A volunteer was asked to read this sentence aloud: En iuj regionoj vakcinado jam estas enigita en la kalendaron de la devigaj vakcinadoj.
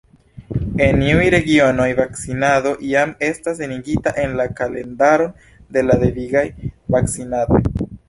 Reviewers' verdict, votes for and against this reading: rejected, 1, 2